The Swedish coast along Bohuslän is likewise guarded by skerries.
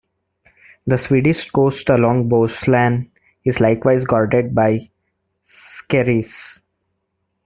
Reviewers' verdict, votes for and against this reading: rejected, 0, 2